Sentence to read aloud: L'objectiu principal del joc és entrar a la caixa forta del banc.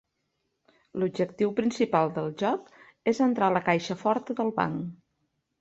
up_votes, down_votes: 2, 0